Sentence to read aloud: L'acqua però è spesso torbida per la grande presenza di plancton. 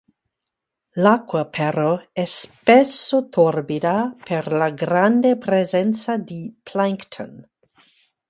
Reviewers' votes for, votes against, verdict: 2, 2, rejected